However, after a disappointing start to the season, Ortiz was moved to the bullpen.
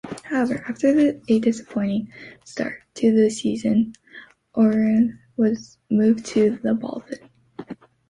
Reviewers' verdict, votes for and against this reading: rejected, 1, 2